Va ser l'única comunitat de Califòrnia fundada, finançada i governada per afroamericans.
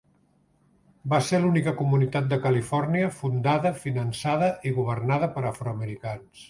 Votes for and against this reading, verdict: 3, 0, accepted